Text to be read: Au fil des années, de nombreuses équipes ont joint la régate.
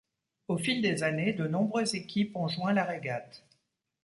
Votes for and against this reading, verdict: 2, 0, accepted